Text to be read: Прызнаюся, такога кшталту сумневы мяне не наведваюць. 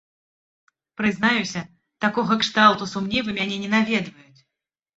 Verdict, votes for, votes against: accepted, 2, 1